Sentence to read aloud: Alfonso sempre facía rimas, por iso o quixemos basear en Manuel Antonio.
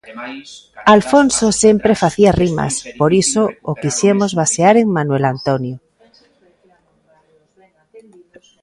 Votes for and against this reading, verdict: 0, 2, rejected